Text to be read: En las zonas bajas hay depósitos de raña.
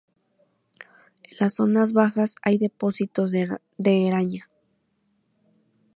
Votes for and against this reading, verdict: 0, 2, rejected